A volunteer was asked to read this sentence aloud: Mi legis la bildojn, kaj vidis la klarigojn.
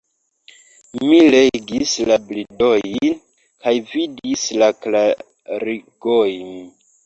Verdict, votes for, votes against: rejected, 0, 3